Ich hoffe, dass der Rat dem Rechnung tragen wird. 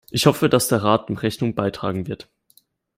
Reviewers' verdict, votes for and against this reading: rejected, 1, 2